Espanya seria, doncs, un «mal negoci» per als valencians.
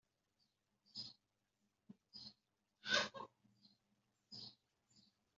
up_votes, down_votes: 0, 2